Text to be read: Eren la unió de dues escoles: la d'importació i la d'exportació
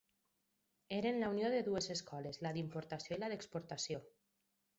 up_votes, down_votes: 4, 0